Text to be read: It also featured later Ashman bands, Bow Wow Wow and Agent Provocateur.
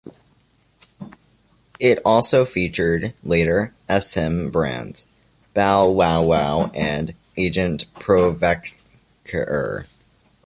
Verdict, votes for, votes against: rejected, 0, 2